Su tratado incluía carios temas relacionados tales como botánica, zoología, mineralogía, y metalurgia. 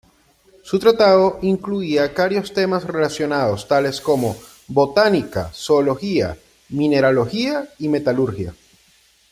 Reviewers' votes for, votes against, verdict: 2, 0, accepted